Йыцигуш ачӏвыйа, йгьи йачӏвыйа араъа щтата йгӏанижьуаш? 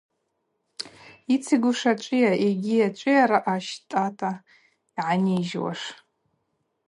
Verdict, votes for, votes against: rejected, 0, 2